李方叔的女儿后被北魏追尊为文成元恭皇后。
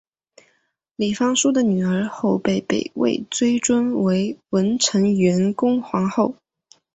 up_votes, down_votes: 2, 1